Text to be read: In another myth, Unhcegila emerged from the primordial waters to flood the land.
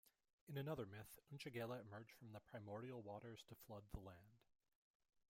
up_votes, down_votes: 0, 2